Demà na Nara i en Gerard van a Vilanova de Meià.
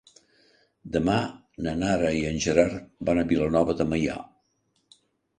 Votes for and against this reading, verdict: 2, 0, accepted